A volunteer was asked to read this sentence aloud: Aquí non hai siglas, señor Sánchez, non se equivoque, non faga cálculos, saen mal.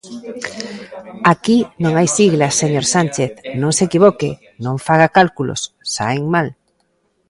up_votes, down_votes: 2, 1